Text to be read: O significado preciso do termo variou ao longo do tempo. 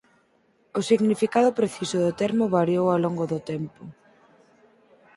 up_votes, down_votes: 4, 0